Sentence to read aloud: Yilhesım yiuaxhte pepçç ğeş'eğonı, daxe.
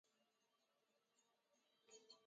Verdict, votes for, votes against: rejected, 0, 3